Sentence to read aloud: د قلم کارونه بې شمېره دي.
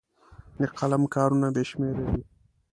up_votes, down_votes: 2, 0